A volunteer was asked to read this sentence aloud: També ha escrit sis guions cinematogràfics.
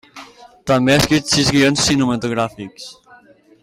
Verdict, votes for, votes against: accepted, 3, 0